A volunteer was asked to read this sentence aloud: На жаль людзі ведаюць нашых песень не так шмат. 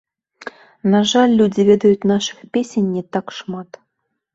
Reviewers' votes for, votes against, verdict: 1, 3, rejected